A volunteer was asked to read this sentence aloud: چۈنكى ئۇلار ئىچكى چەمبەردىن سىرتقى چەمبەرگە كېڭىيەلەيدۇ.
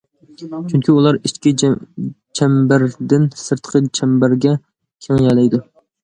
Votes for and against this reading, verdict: 0, 2, rejected